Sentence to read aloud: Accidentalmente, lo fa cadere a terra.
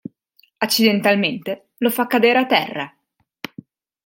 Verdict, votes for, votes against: accepted, 3, 0